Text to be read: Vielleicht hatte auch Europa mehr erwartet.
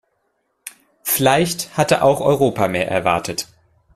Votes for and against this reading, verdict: 1, 2, rejected